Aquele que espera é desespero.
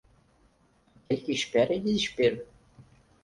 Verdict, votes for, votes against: rejected, 0, 4